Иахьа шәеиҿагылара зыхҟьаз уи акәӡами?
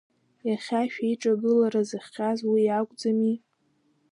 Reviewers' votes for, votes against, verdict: 2, 0, accepted